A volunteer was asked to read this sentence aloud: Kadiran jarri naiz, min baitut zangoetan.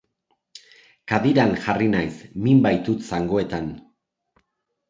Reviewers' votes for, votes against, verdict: 2, 0, accepted